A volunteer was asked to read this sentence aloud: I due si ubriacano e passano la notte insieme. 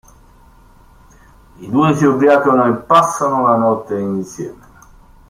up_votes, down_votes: 0, 2